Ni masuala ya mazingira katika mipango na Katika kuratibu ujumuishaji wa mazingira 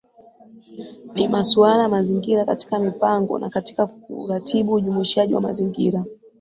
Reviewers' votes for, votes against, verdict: 2, 0, accepted